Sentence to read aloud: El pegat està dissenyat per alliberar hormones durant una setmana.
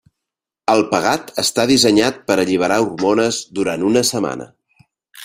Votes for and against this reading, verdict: 2, 0, accepted